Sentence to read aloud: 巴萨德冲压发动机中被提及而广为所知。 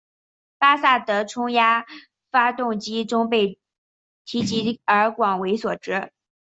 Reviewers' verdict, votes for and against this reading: accepted, 7, 2